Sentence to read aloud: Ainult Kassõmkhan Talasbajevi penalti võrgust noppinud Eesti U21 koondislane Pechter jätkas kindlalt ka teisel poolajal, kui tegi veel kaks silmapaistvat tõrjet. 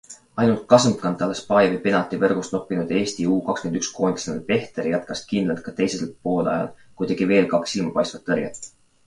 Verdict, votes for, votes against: rejected, 0, 2